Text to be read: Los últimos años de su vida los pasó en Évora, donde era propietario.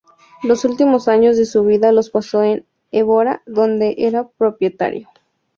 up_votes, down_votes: 2, 0